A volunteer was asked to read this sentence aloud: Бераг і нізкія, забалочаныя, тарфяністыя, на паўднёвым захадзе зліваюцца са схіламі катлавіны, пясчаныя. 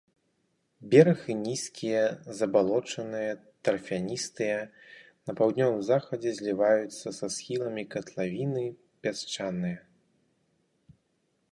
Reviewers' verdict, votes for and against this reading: rejected, 2, 2